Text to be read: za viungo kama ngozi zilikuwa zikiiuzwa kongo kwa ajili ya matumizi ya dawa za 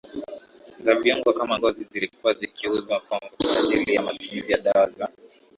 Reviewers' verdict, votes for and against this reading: rejected, 1, 2